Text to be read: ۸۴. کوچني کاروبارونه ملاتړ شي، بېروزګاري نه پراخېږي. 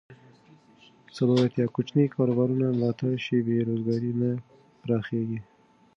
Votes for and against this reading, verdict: 0, 2, rejected